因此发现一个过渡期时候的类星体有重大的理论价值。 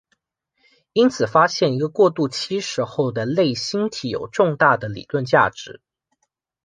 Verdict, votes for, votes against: accepted, 2, 0